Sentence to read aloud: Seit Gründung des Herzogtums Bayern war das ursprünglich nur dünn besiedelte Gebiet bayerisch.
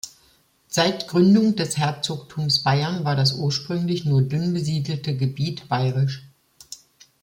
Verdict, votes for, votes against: rejected, 1, 2